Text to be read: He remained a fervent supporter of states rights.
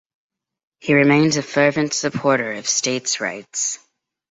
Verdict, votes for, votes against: rejected, 0, 2